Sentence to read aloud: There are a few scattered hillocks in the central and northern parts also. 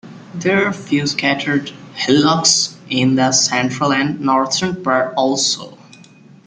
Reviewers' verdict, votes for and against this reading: accepted, 2, 1